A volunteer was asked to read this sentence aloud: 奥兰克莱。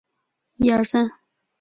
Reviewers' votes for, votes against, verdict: 0, 5, rejected